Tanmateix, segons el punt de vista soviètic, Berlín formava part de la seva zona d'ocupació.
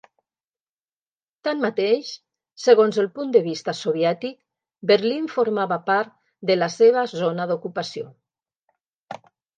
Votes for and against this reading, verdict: 3, 0, accepted